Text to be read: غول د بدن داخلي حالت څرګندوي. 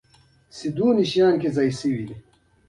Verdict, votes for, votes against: rejected, 0, 2